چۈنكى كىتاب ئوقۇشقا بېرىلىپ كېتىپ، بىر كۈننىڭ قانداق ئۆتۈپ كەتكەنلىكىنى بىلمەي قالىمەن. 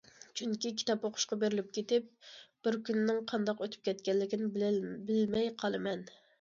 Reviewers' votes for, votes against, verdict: 1, 2, rejected